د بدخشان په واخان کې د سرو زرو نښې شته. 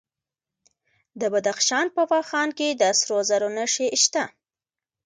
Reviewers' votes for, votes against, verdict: 1, 2, rejected